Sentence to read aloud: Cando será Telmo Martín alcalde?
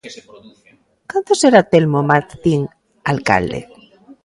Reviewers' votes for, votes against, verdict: 1, 2, rejected